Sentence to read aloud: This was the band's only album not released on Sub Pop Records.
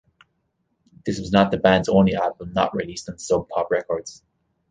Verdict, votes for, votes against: rejected, 1, 2